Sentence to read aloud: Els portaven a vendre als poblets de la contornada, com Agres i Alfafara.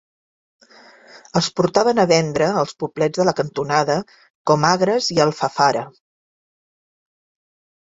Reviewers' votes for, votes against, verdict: 1, 2, rejected